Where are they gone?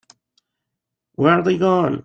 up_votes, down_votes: 1, 2